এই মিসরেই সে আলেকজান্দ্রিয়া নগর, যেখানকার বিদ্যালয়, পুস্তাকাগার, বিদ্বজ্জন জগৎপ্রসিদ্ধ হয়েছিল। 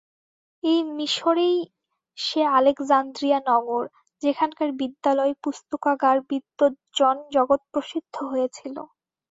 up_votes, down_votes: 2, 0